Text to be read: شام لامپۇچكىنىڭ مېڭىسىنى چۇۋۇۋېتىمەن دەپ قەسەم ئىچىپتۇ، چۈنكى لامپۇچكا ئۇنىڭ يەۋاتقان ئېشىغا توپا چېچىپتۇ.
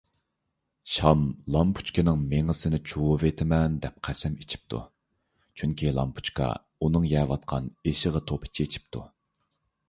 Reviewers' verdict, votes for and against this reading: accepted, 2, 0